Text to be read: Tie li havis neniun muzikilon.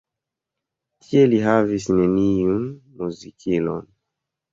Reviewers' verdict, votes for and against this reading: rejected, 0, 2